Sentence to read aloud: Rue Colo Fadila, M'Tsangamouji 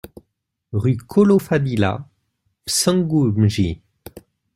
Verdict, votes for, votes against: rejected, 1, 2